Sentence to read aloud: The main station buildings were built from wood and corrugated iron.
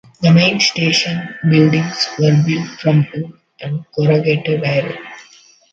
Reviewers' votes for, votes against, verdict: 1, 2, rejected